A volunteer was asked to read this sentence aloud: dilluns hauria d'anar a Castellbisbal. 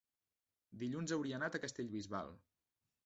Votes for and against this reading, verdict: 0, 2, rejected